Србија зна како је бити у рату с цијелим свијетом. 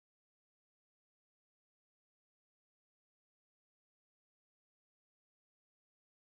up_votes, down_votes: 0, 2